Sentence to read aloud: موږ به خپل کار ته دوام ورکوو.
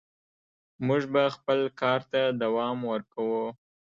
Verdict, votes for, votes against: accepted, 2, 1